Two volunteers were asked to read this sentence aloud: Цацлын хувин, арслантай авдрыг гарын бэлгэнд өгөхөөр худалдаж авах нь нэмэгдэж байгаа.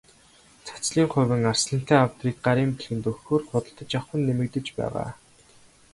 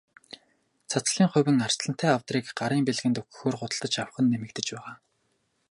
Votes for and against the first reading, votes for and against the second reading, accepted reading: 3, 0, 0, 2, first